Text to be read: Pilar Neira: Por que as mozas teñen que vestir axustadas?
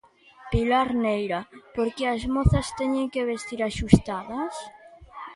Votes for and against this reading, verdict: 0, 2, rejected